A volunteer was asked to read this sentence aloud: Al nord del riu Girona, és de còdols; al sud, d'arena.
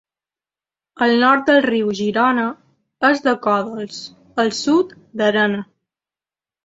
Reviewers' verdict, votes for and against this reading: accepted, 2, 0